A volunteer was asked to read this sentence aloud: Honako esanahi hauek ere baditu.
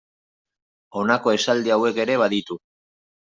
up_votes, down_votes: 0, 2